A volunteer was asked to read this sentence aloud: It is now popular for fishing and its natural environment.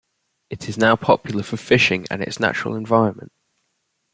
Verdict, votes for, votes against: accepted, 2, 0